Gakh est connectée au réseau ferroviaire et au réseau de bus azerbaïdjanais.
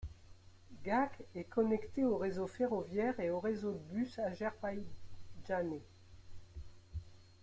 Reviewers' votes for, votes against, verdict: 1, 2, rejected